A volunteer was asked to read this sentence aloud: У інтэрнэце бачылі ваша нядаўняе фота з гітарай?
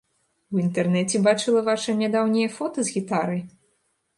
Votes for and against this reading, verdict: 0, 2, rejected